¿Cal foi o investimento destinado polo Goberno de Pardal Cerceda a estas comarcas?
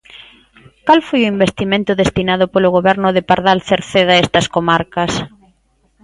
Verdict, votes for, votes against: accepted, 2, 0